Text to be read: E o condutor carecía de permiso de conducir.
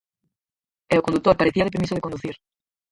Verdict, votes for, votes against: rejected, 0, 4